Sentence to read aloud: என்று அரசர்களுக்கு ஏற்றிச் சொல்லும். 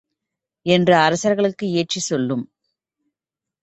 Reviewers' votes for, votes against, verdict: 2, 0, accepted